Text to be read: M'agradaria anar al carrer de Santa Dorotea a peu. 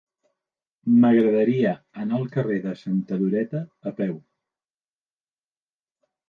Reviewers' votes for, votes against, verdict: 0, 2, rejected